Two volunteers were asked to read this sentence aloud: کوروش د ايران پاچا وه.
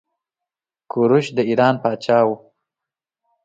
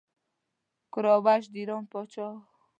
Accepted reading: first